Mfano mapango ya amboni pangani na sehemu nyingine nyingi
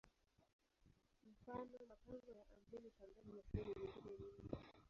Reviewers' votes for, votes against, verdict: 0, 2, rejected